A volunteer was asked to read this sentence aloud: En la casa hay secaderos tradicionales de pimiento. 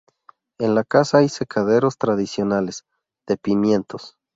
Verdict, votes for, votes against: rejected, 0, 2